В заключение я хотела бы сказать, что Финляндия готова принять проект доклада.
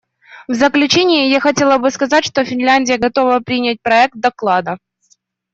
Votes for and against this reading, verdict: 2, 0, accepted